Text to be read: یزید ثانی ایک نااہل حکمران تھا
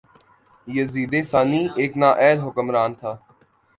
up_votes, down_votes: 2, 0